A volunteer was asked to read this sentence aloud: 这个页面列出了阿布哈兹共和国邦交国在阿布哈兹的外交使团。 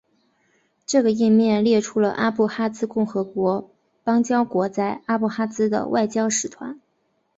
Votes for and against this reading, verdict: 2, 0, accepted